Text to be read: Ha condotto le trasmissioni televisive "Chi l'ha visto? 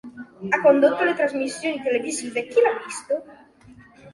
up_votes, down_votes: 3, 0